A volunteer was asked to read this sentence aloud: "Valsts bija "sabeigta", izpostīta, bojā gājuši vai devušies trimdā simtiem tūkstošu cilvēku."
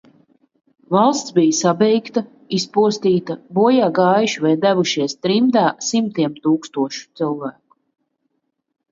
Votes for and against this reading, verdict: 2, 0, accepted